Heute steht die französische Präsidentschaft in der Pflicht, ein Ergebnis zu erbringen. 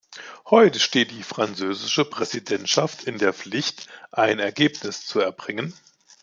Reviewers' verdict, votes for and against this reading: accepted, 2, 0